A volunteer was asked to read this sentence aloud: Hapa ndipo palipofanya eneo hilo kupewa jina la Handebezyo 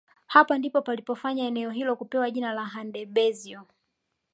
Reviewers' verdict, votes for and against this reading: accepted, 2, 1